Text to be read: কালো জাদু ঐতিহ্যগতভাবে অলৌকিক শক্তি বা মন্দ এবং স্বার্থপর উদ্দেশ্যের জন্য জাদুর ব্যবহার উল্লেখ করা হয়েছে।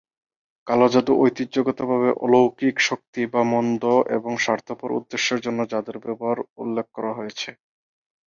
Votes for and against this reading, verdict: 14, 0, accepted